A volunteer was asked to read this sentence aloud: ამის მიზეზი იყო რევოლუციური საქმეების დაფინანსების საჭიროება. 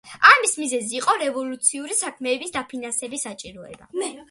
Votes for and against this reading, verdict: 2, 1, accepted